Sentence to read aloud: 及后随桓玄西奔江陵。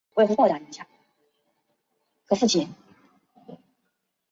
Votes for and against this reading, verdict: 0, 2, rejected